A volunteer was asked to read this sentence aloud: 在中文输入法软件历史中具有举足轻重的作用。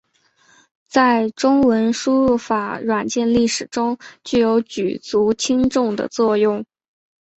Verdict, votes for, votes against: accepted, 2, 0